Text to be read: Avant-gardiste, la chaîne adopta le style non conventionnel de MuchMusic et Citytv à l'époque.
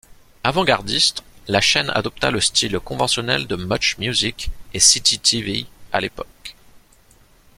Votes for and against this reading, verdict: 0, 2, rejected